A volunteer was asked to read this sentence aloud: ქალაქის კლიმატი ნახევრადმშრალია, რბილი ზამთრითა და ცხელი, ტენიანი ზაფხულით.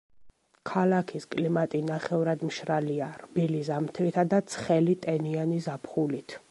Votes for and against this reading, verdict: 2, 0, accepted